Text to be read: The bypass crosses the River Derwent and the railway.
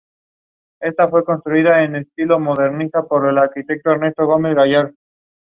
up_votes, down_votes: 0, 2